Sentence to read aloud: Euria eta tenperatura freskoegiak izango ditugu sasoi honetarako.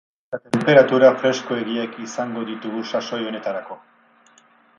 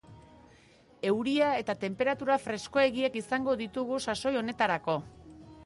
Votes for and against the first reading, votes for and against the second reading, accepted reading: 0, 4, 2, 0, second